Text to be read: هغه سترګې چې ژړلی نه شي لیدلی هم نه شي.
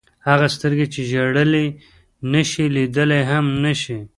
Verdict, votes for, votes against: accepted, 3, 0